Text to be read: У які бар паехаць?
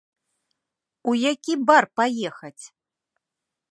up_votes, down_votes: 2, 0